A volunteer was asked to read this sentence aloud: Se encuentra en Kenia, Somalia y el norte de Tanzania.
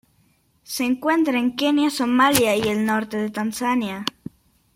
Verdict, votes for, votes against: accepted, 2, 0